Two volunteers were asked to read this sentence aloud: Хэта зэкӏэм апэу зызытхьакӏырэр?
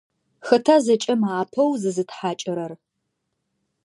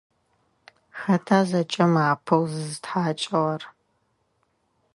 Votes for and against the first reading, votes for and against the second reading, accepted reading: 2, 0, 1, 2, first